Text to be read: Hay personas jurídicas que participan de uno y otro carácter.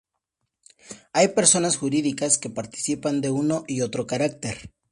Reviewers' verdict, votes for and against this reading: accepted, 2, 0